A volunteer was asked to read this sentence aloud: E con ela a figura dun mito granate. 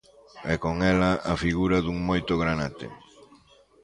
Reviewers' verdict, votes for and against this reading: rejected, 0, 2